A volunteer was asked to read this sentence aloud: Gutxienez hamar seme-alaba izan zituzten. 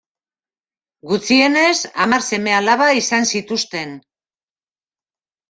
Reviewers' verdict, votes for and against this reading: accepted, 2, 0